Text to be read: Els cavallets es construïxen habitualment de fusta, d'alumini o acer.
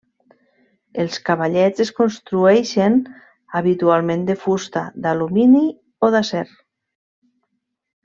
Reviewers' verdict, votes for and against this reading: rejected, 1, 2